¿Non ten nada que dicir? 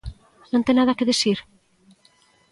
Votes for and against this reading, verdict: 2, 1, accepted